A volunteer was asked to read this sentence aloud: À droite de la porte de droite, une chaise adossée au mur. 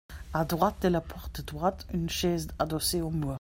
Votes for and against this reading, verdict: 1, 2, rejected